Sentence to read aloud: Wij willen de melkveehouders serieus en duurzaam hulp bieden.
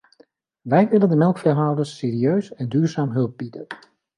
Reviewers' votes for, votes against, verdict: 3, 0, accepted